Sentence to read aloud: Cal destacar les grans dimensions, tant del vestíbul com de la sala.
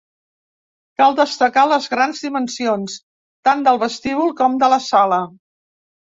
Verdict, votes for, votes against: accepted, 2, 0